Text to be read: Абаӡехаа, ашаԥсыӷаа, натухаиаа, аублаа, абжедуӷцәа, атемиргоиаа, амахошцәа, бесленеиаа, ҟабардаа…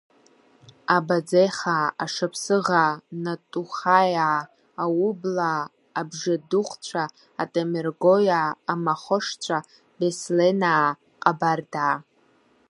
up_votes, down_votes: 0, 2